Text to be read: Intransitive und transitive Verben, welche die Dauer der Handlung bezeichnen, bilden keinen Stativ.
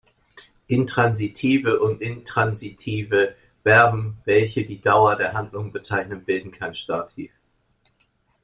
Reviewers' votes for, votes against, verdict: 0, 2, rejected